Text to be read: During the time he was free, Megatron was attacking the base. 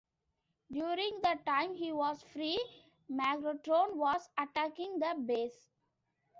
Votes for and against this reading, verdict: 2, 0, accepted